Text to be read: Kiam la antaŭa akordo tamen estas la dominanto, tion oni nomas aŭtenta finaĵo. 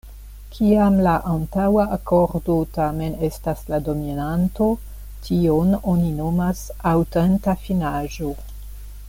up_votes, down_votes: 2, 0